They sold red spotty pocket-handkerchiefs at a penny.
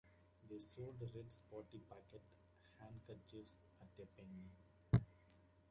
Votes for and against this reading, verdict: 0, 2, rejected